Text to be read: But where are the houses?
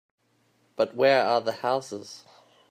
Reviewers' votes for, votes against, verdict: 2, 0, accepted